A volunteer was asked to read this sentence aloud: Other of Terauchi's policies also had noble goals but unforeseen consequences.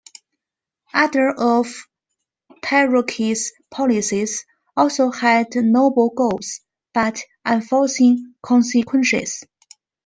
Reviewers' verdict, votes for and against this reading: accepted, 2, 0